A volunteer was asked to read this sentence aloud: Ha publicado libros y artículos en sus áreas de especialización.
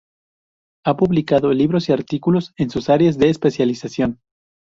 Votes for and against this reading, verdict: 2, 0, accepted